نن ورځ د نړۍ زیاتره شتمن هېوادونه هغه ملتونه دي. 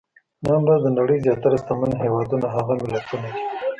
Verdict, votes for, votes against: rejected, 0, 2